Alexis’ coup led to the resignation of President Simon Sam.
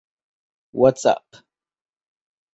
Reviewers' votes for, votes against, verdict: 0, 2, rejected